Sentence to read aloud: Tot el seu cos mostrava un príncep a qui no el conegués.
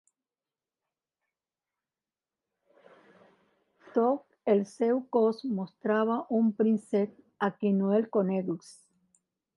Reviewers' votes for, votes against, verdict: 0, 2, rejected